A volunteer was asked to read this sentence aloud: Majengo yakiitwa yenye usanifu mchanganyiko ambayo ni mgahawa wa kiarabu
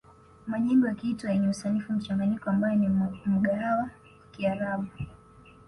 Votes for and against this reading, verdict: 0, 2, rejected